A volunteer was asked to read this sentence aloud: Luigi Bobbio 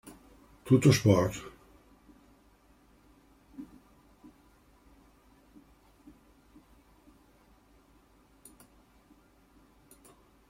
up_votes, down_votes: 0, 2